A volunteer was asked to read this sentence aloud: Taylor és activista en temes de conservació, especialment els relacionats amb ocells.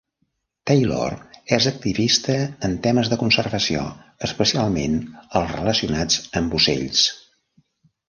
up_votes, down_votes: 1, 2